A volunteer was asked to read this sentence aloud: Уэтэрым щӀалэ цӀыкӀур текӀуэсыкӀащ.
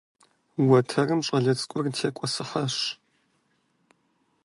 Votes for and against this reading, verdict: 2, 0, accepted